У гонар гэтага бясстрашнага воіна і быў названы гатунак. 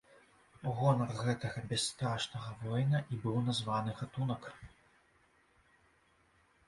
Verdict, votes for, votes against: accepted, 3, 0